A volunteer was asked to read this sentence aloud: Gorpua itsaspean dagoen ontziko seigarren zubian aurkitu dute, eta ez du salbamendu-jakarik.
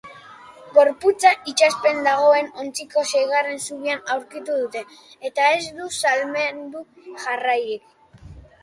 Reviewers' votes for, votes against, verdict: 0, 2, rejected